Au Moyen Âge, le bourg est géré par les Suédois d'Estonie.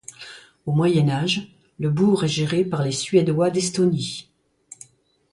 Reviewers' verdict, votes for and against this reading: accepted, 2, 0